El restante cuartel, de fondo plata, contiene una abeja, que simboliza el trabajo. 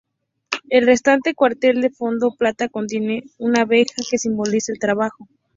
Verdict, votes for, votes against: accepted, 2, 0